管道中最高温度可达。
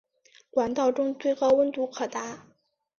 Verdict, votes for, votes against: accepted, 9, 0